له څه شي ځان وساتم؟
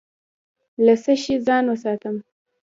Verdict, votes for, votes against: accepted, 2, 1